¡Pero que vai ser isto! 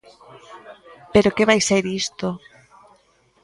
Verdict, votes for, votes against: accepted, 2, 0